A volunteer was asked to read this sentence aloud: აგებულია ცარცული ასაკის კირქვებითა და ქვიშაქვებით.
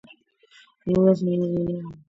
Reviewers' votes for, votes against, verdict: 0, 2, rejected